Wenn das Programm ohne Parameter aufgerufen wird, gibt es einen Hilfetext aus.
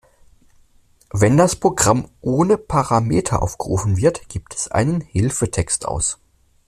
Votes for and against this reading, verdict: 2, 0, accepted